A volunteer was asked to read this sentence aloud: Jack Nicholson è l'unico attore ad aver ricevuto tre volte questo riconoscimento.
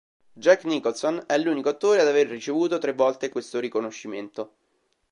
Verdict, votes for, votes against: accepted, 2, 0